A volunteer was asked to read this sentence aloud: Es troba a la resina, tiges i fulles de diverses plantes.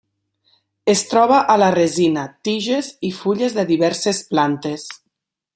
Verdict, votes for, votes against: accepted, 3, 0